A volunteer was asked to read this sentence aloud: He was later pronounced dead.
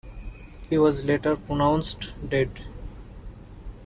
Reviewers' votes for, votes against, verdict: 2, 0, accepted